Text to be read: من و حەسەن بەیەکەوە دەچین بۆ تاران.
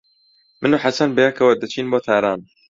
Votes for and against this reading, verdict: 2, 0, accepted